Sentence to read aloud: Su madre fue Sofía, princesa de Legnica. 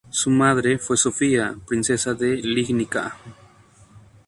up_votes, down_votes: 0, 2